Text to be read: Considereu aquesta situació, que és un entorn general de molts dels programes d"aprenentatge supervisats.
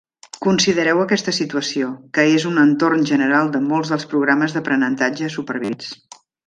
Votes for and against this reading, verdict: 1, 2, rejected